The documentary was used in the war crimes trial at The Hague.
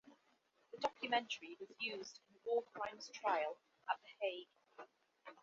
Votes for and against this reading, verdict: 1, 5, rejected